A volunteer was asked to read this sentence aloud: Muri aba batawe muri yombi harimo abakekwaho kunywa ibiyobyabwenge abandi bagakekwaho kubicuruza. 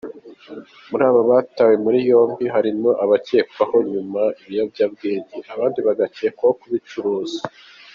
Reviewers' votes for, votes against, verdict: 2, 0, accepted